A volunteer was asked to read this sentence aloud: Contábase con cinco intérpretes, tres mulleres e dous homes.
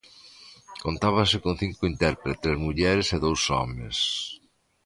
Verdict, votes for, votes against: rejected, 0, 2